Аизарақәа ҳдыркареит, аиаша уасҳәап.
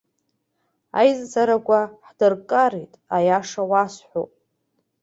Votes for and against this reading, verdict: 0, 2, rejected